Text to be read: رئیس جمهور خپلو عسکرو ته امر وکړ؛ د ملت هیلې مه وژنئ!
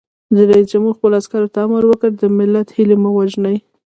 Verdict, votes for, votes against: rejected, 1, 2